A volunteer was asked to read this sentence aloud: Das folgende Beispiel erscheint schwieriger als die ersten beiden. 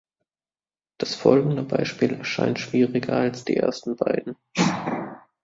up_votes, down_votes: 3, 0